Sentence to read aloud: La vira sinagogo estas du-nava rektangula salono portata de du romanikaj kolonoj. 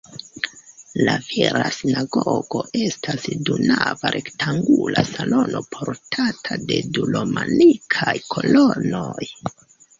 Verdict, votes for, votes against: accepted, 2, 0